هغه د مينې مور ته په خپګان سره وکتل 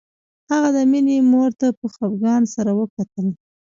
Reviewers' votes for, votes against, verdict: 0, 2, rejected